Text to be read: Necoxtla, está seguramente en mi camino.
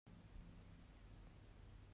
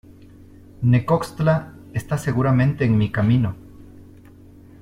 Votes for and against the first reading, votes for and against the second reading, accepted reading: 0, 2, 2, 0, second